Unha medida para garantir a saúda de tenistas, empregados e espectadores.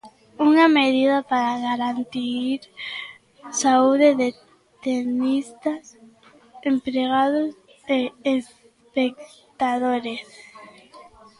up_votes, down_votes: 0, 2